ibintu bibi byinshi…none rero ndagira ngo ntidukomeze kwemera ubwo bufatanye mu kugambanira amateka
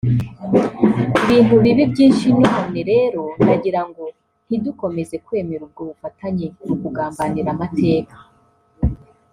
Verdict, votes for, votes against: rejected, 1, 2